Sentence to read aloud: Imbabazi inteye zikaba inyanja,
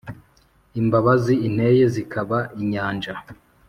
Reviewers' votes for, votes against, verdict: 2, 0, accepted